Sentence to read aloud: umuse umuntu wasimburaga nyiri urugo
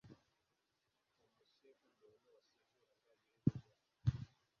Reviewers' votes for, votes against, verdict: 0, 2, rejected